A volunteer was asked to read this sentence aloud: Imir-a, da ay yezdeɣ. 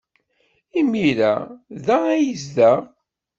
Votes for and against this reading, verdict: 1, 2, rejected